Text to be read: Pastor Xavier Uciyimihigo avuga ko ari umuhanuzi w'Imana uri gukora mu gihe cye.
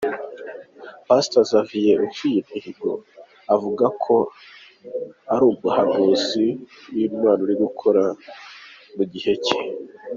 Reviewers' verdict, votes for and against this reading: accepted, 3, 2